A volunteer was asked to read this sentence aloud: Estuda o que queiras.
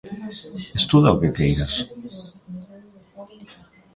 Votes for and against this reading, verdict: 1, 2, rejected